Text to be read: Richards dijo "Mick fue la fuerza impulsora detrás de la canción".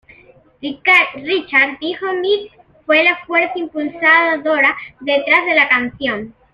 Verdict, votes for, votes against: rejected, 0, 2